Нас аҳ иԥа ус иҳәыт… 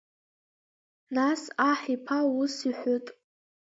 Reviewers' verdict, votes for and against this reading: rejected, 1, 2